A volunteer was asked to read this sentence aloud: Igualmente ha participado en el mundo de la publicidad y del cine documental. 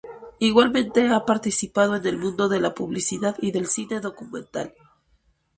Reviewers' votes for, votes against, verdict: 6, 0, accepted